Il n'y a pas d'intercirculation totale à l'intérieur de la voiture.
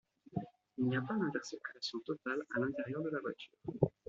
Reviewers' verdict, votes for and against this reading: rejected, 1, 2